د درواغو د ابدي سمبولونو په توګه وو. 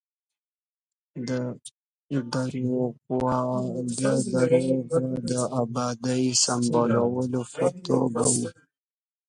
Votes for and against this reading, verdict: 0, 2, rejected